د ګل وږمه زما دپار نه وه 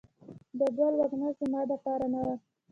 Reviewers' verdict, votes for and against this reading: accepted, 2, 0